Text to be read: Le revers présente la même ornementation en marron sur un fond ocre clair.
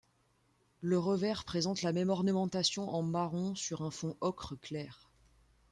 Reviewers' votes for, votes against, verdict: 2, 0, accepted